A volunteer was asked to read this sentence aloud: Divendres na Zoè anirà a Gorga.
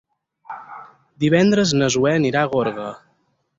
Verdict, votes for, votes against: accepted, 4, 0